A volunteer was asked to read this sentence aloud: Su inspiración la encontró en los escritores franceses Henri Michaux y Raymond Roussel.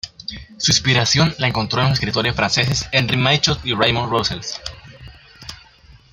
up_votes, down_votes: 0, 2